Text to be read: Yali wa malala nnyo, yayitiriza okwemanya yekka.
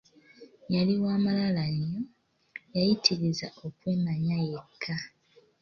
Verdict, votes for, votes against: accepted, 3, 0